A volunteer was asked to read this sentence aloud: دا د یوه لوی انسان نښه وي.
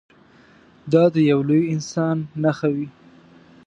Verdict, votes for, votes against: accepted, 2, 0